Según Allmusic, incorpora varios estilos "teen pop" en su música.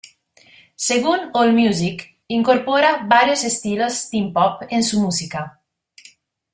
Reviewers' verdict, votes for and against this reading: accepted, 2, 0